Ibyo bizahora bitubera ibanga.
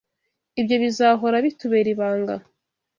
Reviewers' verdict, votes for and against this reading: accepted, 4, 0